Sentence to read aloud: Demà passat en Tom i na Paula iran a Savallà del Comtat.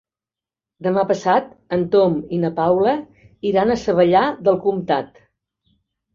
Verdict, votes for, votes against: accepted, 2, 0